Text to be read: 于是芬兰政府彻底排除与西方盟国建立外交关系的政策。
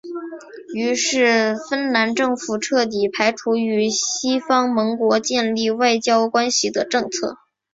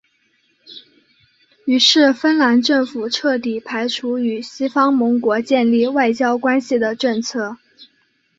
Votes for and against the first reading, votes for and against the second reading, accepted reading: 7, 0, 1, 2, first